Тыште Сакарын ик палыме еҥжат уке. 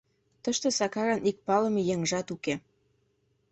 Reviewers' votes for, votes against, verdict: 2, 0, accepted